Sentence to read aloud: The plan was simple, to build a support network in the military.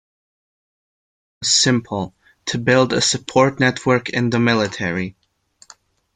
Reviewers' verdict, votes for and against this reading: rejected, 0, 2